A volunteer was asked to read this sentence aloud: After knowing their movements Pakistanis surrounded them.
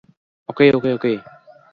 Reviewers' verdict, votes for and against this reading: rejected, 0, 2